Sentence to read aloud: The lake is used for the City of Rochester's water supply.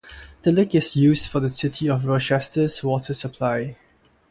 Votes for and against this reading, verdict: 6, 0, accepted